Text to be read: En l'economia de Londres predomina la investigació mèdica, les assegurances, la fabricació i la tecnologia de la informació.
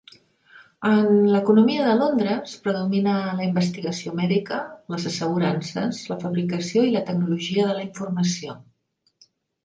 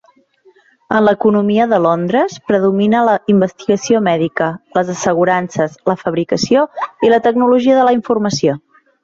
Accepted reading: first